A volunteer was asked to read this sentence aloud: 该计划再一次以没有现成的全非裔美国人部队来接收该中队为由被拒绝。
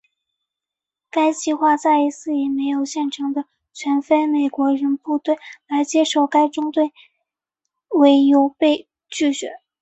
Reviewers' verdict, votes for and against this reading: accepted, 2, 0